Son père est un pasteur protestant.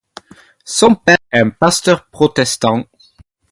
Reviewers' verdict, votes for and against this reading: accepted, 2, 0